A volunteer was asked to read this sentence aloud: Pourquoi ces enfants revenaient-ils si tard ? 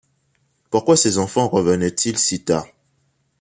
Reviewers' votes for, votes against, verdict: 2, 0, accepted